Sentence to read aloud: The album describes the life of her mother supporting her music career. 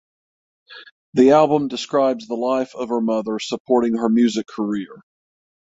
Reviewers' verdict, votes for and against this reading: accepted, 6, 0